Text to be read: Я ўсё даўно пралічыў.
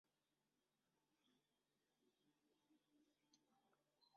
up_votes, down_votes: 0, 2